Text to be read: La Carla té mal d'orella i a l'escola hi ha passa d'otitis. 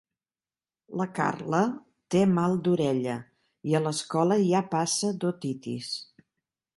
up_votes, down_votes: 3, 0